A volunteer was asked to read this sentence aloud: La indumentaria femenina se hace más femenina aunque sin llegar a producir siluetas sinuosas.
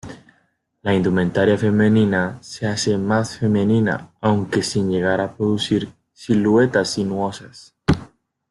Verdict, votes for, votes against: rejected, 0, 2